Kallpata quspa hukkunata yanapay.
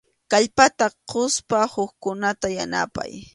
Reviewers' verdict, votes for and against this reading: accepted, 2, 0